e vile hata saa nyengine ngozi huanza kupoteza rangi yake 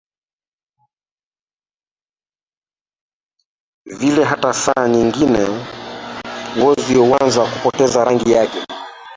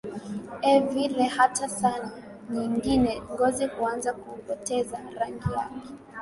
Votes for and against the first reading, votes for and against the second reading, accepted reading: 0, 2, 4, 1, second